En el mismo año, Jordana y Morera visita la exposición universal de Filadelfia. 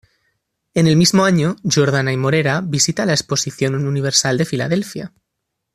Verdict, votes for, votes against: accepted, 2, 0